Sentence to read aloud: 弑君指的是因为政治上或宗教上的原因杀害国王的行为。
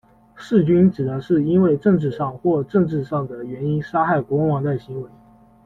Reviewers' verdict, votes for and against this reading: rejected, 0, 2